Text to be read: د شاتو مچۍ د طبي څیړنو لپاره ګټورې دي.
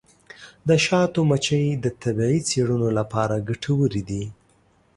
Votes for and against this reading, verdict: 2, 0, accepted